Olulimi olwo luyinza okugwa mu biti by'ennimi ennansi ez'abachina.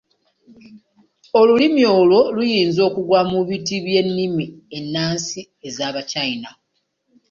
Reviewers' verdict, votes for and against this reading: accepted, 2, 0